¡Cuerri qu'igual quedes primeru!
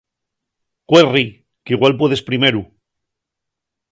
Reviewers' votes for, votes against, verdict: 1, 2, rejected